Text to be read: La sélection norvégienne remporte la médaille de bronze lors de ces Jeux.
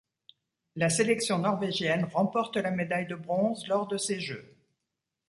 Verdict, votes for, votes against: accepted, 2, 0